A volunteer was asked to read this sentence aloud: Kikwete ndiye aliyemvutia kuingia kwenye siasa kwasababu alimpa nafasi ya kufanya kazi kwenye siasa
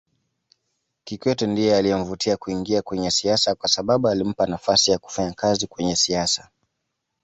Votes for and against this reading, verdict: 2, 0, accepted